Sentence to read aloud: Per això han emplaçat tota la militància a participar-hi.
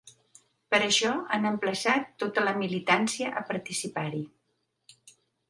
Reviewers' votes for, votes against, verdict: 3, 0, accepted